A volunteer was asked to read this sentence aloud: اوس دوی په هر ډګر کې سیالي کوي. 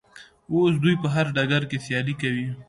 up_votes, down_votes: 2, 0